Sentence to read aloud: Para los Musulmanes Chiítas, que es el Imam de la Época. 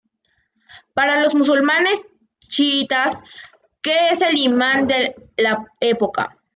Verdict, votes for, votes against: rejected, 1, 2